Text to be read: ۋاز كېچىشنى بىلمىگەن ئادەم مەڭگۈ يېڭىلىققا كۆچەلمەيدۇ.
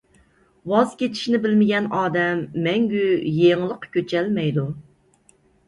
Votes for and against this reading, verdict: 2, 0, accepted